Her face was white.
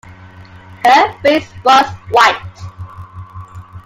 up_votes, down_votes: 2, 0